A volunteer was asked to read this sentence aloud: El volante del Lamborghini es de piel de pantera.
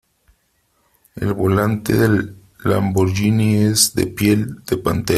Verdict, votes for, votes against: rejected, 1, 2